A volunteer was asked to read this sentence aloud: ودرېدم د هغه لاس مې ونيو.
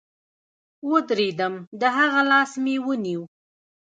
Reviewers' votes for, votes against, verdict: 1, 2, rejected